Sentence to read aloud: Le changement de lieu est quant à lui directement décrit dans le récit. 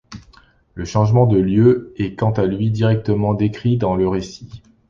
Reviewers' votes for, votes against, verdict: 2, 0, accepted